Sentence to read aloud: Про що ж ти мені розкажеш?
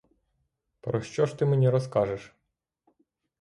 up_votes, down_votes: 6, 0